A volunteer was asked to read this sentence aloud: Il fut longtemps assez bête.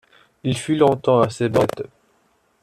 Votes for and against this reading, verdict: 1, 2, rejected